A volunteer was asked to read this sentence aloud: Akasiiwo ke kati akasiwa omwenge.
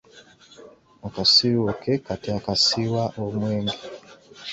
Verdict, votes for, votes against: rejected, 1, 2